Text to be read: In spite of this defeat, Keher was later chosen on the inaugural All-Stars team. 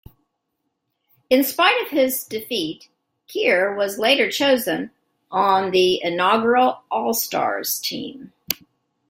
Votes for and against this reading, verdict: 2, 1, accepted